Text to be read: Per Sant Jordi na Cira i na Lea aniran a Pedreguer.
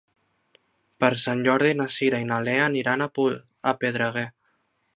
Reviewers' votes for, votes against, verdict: 1, 2, rejected